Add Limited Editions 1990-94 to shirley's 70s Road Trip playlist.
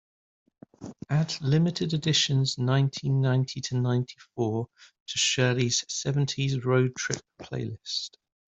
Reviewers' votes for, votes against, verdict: 0, 2, rejected